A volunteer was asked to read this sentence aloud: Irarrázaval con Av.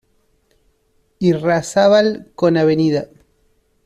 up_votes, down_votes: 0, 2